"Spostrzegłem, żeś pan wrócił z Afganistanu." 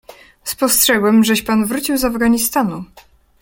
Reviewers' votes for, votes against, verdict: 2, 0, accepted